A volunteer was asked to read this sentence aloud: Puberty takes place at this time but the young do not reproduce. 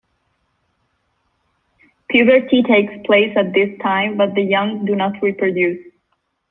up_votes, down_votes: 2, 0